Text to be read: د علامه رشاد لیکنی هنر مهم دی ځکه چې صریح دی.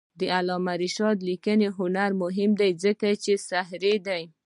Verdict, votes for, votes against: rejected, 0, 2